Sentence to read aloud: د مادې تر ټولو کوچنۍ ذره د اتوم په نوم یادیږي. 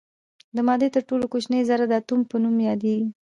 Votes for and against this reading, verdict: 2, 0, accepted